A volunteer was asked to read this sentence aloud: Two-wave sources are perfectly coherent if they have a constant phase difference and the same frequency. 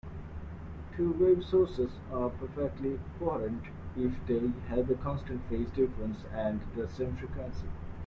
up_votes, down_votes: 2, 0